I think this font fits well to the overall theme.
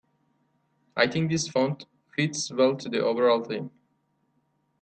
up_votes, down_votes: 2, 0